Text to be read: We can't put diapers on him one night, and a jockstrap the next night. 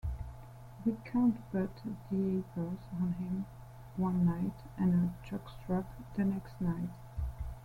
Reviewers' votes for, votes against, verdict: 0, 2, rejected